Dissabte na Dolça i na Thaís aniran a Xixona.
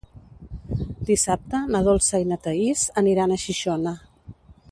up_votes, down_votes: 2, 0